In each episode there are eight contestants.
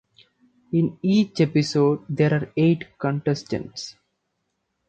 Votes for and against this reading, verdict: 2, 0, accepted